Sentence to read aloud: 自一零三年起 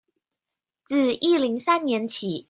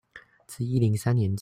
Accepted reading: first